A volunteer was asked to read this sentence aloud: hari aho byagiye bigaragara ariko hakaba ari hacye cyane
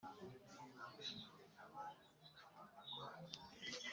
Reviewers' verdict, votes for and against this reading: rejected, 0, 3